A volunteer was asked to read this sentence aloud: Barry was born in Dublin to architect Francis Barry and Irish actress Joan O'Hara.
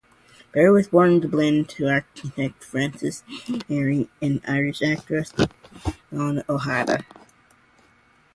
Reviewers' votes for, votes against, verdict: 4, 0, accepted